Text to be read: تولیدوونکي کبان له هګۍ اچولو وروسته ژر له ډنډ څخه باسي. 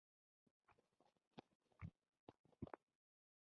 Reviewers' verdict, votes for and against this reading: rejected, 0, 2